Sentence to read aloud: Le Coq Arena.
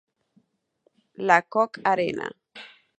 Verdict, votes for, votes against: rejected, 0, 4